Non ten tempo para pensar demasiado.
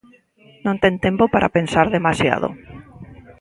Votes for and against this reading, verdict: 2, 1, accepted